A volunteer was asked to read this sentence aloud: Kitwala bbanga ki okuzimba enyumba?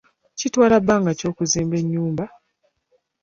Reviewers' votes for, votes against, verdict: 2, 0, accepted